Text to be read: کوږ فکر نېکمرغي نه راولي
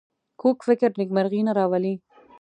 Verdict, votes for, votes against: accepted, 2, 1